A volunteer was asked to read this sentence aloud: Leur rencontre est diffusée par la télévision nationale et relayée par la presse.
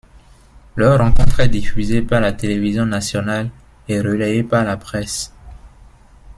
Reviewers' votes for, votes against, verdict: 2, 1, accepted